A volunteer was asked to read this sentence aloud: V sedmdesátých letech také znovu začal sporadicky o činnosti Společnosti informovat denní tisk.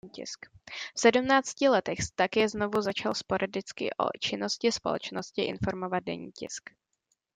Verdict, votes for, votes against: rejected, 0, 2